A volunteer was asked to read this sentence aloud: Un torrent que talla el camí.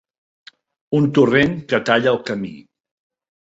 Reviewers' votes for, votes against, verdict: 3, 0, accepted